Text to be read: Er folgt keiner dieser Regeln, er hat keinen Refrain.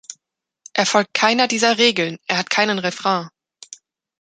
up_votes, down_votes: 2, 1